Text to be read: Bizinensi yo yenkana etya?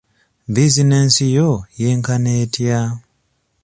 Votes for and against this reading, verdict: 2, 0, accepted